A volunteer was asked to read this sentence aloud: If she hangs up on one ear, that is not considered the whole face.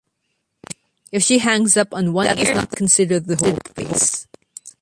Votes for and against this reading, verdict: 1, 2, rejected